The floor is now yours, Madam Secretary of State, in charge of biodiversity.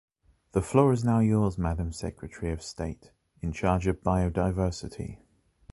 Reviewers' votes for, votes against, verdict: 2, 0, accepted